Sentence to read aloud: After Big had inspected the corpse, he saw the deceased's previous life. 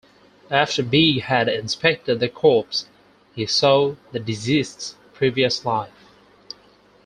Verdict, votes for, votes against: accepted, 4, 0